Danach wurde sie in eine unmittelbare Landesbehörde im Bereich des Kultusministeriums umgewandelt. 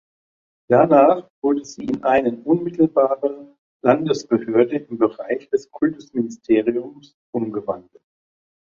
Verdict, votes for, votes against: rejected, 1, 2